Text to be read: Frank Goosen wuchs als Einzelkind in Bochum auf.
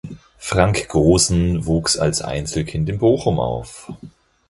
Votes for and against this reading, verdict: 0, 4, rejected